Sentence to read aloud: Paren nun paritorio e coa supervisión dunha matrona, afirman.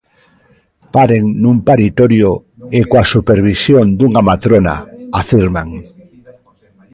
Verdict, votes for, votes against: rejected, 1, 2